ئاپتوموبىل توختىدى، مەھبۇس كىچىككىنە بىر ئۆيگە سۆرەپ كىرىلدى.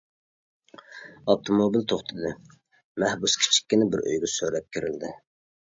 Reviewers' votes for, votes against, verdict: 2, 0, accepted